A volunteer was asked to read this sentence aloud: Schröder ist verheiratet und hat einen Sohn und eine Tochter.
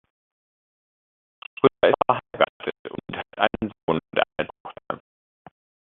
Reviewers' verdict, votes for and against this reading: rejected, 0, 2